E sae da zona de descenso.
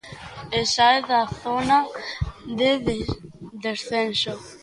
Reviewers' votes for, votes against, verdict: 0, 2, rejected